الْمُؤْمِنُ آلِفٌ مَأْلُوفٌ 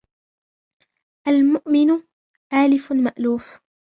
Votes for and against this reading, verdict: 1, 2, rejected